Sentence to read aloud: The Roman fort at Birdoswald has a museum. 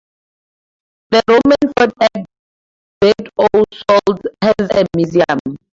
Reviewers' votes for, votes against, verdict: 0, 2, rejected